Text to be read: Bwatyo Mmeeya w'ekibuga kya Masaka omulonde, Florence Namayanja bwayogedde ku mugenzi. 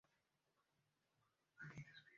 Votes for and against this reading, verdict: 1, 3, rejected